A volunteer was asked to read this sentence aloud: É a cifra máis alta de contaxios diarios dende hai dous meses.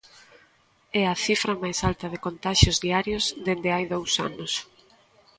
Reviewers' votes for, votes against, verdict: 0, 2, rejected